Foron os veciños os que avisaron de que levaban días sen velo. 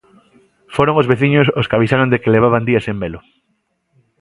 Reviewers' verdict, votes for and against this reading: accepted, 2, 0